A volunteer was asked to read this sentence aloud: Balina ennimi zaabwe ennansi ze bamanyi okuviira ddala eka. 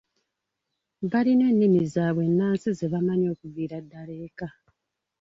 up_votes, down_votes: 1, 2